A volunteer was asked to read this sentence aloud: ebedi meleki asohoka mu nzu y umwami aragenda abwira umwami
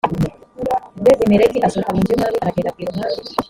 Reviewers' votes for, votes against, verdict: 0, 2, rejected